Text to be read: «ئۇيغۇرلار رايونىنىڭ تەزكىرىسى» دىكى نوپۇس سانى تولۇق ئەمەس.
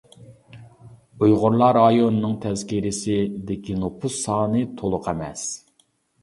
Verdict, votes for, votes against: accepted, 2, 1